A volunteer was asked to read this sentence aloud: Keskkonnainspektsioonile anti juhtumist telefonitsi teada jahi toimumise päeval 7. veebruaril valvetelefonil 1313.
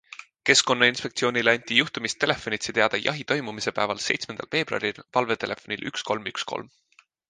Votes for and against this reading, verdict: 0, 2, rejected